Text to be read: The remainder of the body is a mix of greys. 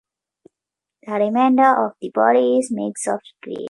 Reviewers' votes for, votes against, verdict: 1, 2, rejected